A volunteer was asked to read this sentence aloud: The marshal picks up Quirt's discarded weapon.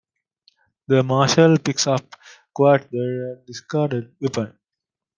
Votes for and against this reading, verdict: 0, 2, rejected